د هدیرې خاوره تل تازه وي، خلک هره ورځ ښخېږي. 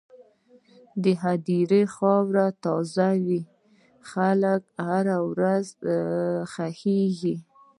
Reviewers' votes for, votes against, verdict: 1, 2, rejected